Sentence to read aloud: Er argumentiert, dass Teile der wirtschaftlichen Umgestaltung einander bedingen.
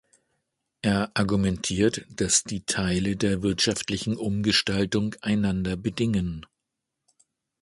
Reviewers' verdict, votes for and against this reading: rejected, 0, 2